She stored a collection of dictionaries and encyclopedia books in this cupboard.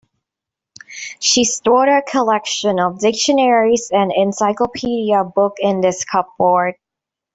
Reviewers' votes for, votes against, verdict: 1, 2, rejected